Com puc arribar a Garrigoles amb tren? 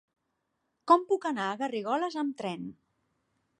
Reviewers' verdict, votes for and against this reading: rejected, 1, 2